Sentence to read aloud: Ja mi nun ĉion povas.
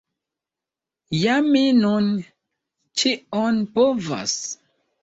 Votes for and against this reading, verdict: 2, 0, accepted